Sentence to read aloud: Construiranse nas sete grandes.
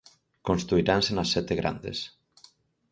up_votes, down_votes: 4, 0